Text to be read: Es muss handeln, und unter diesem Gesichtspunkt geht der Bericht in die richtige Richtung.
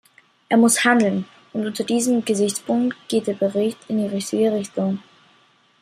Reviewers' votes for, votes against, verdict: 0, 2, rejected